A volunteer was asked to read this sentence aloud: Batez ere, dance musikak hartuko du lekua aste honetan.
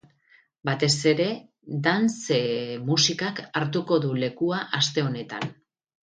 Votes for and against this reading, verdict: 0, 2, rejected